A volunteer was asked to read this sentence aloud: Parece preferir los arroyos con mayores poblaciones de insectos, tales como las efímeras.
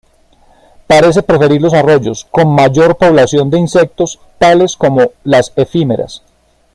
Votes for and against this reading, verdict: 1, 2, rejected